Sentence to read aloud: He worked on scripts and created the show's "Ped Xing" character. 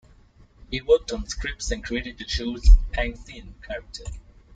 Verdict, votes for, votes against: rejected, 0, 2